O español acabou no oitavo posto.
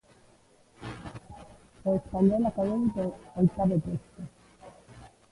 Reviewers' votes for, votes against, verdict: 0, 2, rejected